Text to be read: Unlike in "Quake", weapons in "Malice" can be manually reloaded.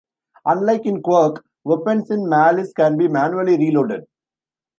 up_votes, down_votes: 1, 2